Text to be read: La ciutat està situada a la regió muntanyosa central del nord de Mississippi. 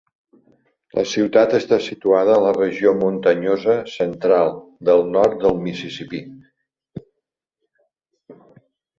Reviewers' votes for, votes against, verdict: 0, 3, rejected